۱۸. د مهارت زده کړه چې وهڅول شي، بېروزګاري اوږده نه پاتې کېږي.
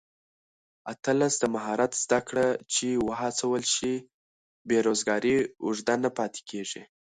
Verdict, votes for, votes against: rejected, 0, 2